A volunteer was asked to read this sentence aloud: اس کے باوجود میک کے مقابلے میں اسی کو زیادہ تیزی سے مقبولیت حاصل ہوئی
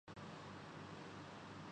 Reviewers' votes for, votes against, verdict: 0, 3, rejected